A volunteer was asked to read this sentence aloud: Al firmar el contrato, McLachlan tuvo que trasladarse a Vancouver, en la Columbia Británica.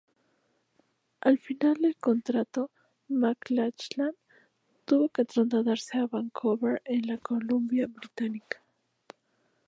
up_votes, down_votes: 0, 2